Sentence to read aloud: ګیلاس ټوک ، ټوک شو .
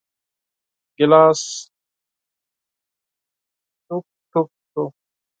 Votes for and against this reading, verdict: 2, 4, rejected